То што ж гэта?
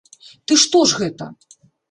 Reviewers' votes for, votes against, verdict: 1, 2, rejected